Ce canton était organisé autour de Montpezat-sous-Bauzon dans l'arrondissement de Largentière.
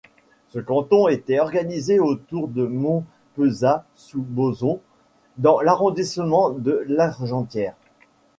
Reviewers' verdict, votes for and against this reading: accepted, 2, 1